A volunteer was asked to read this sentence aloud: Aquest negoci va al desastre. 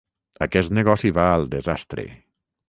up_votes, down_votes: 6, 0